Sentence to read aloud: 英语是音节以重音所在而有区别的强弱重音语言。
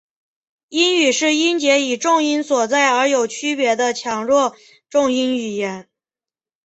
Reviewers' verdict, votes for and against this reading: accepted, 3, 0